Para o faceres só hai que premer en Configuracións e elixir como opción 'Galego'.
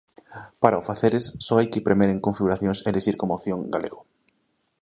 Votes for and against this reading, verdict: 2, 0, accepted